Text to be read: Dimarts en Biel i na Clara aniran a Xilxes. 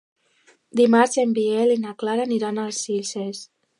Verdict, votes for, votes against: rejected, 1, 2